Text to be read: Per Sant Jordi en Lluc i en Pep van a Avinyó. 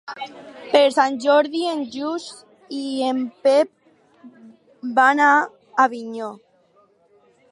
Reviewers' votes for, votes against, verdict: 0, 4, rejected